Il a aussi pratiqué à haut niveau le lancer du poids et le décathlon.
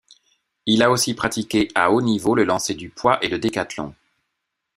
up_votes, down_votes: 2, 0